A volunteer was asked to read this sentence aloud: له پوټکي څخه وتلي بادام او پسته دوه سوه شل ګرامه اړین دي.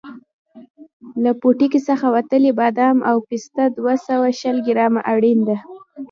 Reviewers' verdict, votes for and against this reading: accepted, 2, 0